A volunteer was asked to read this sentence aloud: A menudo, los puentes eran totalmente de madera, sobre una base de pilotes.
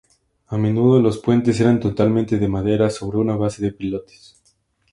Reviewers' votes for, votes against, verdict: 0, 2, rejected